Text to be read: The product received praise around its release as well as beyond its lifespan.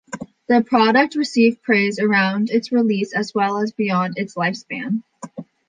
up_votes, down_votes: 2, 0